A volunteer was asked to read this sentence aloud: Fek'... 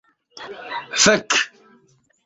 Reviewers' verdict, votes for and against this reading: accepted, 3, 2